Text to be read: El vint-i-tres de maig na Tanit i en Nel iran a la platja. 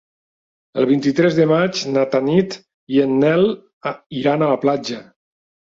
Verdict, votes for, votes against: rejected, 1, 2